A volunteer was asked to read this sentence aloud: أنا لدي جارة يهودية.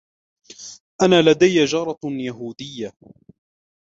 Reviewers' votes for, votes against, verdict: 2, 0, accepted